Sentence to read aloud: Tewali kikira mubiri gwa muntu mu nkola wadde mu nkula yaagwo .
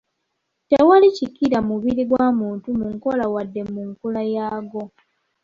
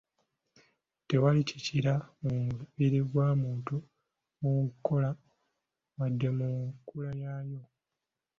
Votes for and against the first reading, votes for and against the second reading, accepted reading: 2, 0, 0, 2, first